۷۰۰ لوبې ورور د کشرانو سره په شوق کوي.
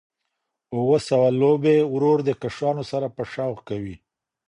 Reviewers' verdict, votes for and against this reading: rejected, 0, 2